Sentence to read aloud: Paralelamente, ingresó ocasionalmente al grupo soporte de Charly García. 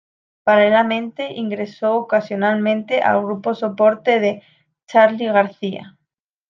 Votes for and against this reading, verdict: 2, 0, accepted